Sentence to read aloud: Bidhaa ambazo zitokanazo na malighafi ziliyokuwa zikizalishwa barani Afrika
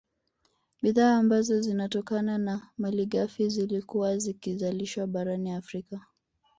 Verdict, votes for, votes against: rejected, 1, 2